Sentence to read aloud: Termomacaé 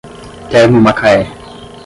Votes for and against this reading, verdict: 0, 5, rejected